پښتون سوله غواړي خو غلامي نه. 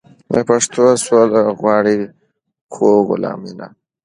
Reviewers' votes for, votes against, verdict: 2, 0, accepted